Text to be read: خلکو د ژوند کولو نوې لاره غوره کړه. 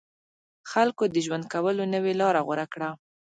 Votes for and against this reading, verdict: 2, 0, accepted